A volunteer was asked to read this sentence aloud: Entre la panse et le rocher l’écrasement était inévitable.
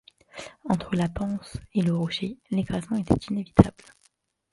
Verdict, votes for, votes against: accepted, 2, 1